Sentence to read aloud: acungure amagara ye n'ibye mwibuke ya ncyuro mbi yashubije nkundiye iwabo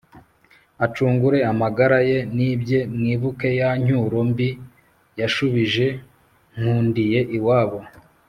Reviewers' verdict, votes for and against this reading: accepted, 2, 0